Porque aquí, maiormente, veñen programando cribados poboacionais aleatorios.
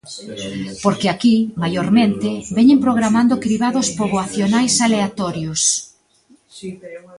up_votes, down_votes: 1, 2